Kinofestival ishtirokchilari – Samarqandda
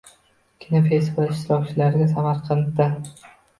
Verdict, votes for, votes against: rejected, 0, 2